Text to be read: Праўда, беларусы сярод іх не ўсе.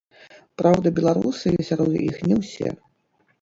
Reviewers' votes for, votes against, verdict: 1, 2, rejected